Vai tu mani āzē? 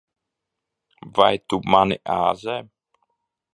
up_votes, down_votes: 2, 0